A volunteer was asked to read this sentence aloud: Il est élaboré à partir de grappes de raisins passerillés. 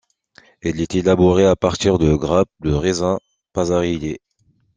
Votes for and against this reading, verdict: 1, 2, rejected